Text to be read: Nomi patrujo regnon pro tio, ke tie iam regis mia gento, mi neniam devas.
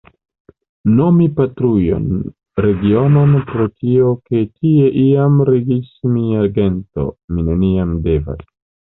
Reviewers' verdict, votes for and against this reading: rejected, 0, 3